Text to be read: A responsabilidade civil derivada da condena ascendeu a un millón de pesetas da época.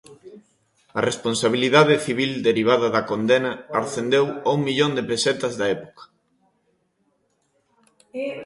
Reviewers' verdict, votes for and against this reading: accepted, 2, 0